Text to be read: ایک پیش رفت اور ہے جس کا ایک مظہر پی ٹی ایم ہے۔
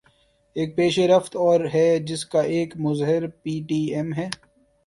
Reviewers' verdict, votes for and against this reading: accepted, 2, 0